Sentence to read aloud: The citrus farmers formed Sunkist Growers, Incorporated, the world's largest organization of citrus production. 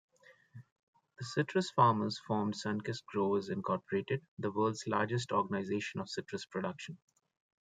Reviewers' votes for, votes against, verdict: 2, 1, accepted